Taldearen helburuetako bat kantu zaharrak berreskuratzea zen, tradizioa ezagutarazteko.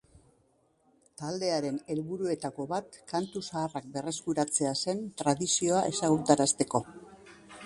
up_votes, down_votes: 2, 0